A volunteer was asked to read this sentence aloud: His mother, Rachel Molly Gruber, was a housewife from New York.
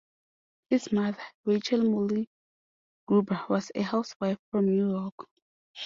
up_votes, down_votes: 2, 0